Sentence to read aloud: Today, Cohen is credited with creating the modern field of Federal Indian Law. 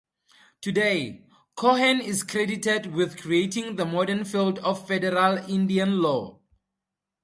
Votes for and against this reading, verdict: 4, 0, accepted